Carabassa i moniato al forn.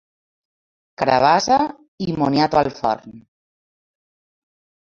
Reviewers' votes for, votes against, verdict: 2, 1, accepted